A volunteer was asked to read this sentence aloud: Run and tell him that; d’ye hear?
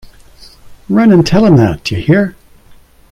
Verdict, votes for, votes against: accepted, 2, 0